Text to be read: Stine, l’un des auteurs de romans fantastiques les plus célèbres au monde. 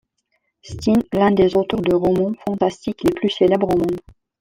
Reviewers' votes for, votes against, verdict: 2, 0, accepted